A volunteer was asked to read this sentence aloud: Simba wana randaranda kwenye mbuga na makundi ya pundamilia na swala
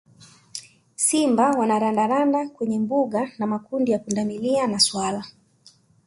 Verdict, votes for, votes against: accepted, 2, 0